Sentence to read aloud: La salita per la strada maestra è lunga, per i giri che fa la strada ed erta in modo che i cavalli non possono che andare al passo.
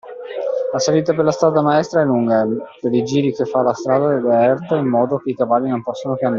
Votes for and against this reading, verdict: 0, 2, rejected